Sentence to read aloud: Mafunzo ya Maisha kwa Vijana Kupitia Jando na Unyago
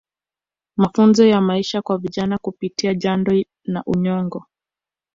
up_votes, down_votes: 2, 0